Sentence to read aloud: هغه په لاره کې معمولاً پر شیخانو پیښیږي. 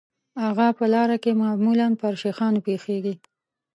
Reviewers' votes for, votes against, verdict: 2, 0, accepted